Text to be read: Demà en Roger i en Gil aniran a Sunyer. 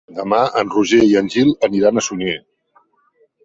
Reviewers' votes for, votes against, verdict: 3, 0, accepted